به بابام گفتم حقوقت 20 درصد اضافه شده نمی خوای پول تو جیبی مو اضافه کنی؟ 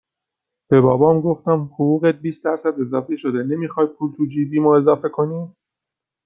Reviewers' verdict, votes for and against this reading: rejected, 0, 2